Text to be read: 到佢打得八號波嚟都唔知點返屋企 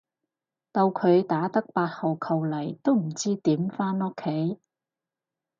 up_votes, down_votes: 0, 4